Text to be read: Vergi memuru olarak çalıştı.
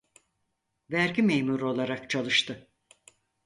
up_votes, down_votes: 4, 0